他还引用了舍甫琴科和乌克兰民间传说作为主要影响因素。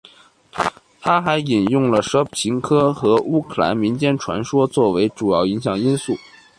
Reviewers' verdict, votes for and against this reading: accepted, 3, 1